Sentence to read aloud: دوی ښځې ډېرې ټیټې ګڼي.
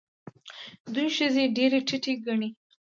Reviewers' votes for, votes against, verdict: 2, 0, accepted